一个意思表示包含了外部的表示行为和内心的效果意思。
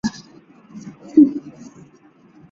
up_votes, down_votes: 1, 2